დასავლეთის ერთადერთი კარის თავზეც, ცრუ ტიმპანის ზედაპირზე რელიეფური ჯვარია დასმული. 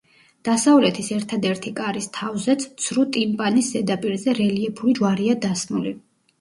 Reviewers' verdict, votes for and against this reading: rejected, 1, 2